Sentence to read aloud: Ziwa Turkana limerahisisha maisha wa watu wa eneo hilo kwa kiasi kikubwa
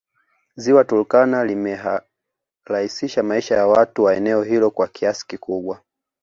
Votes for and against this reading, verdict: 2, 0, accepted